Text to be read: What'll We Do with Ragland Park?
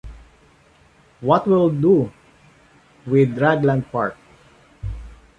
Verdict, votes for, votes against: rejected, 1, 2